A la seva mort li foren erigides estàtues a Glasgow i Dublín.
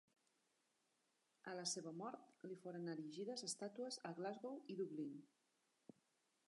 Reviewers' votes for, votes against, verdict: 0, 2, rejected